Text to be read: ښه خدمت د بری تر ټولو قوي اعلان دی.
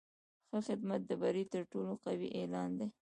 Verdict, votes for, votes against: accepted, 2, 0